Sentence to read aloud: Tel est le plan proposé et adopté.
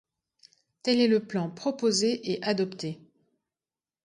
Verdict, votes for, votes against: accepted, 3, 0